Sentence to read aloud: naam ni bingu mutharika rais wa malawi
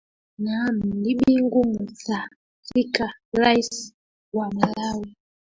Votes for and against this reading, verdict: 0, 2, rejected